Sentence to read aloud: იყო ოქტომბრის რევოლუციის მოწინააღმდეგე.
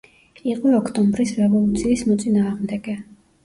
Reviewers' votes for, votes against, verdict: 1, 2, rejected